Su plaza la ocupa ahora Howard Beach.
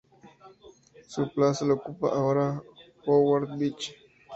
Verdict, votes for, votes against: accepted, 2, 0